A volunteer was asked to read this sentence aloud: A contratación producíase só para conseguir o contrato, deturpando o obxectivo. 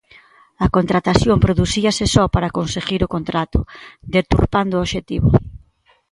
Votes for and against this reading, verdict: 2, 0, accepted